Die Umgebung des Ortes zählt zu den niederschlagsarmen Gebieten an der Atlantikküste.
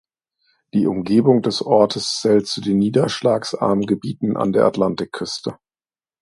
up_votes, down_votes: 2, 0